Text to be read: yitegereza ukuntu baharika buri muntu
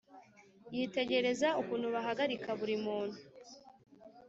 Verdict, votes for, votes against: accepted, 3, 0